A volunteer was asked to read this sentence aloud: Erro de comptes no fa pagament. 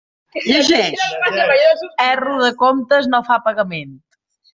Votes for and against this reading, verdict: 0, 2, rejected